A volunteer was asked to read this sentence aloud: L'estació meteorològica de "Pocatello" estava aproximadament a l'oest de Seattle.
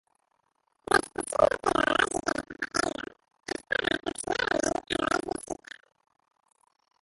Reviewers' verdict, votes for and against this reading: rejected, 0, 2